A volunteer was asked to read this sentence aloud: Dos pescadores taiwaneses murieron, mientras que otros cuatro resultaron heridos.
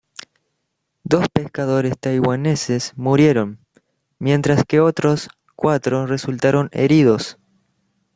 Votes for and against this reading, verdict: 2, 0, accepted